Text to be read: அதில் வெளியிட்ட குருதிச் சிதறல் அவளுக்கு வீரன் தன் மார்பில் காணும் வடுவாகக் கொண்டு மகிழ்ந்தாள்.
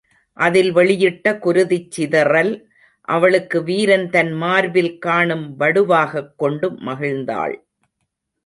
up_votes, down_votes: 2, 1